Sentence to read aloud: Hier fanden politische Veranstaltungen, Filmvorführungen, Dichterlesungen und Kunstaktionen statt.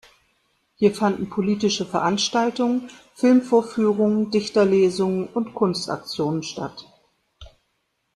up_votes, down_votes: 2, 0